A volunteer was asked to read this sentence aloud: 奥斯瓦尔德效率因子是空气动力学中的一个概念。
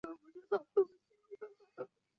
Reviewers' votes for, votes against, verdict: 0, 2, rejected